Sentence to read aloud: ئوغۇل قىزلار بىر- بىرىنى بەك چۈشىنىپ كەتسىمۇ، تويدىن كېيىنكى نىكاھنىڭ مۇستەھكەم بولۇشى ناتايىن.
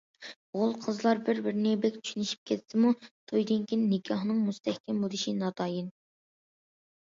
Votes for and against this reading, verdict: 0, 2, rejected